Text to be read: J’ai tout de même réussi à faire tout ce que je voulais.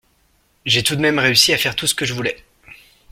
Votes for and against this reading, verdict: 3, 0, accepted